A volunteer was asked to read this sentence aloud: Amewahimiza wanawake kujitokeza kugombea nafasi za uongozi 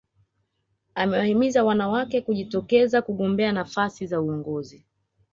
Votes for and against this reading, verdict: 2, 0, accepted